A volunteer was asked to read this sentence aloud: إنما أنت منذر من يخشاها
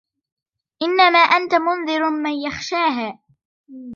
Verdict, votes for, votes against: accepted, 2, 1